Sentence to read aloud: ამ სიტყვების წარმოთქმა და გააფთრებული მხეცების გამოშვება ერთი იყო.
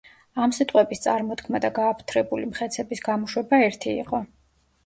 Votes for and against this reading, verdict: 2, 0, accepted